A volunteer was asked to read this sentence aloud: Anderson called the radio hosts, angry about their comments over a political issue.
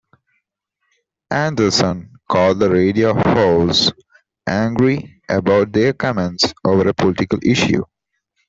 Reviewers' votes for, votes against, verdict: 2, 0, accepted